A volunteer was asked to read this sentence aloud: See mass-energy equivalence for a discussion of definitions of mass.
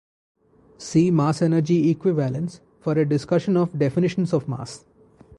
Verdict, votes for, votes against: accepted, 2, 0